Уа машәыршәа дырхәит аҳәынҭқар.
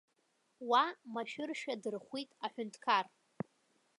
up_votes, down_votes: 3, 0